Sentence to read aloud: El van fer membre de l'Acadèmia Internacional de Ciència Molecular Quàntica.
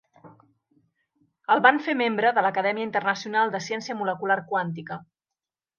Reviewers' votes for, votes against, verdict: 2, 0, accepted